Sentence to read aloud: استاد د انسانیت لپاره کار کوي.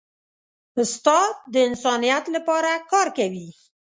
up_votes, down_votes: 2, 0